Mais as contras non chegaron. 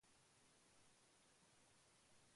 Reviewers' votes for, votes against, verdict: 0, 2, rejected